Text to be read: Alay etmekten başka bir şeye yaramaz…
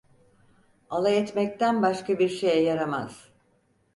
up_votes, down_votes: 4, 0